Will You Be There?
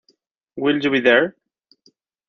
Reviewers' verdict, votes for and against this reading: accepted, 2, 0